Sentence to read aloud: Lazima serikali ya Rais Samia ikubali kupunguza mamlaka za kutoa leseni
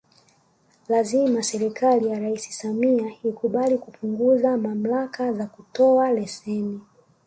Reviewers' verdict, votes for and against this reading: rejected, 0, 2